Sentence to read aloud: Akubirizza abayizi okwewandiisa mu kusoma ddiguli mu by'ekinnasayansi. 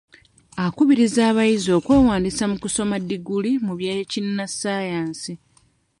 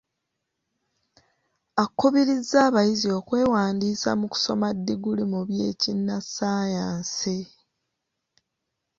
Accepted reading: second